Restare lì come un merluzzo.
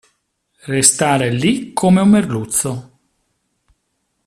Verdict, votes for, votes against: accepted, 2, 0